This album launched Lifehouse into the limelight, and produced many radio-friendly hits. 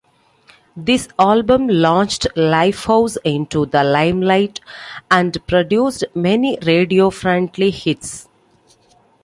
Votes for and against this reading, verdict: 2, 1, accepted